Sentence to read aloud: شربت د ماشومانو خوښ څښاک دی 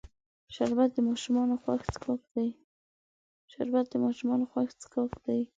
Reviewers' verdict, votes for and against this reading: accepted, 2, 1